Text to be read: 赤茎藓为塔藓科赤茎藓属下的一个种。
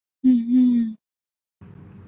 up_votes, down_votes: 0, 4